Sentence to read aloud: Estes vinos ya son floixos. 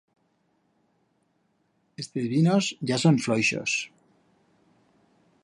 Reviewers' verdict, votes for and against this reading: rejected, 1, 2